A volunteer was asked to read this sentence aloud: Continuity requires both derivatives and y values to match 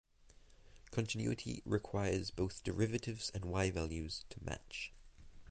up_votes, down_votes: 2, 0